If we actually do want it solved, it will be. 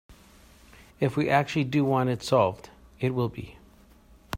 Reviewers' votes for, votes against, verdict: 2, 0, accepted